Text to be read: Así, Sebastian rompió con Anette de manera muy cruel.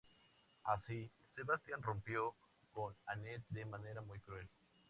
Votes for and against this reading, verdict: 2, 0, accepted